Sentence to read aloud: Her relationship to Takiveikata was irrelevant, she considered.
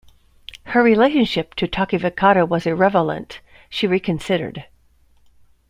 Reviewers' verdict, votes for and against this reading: rejected, 0, 2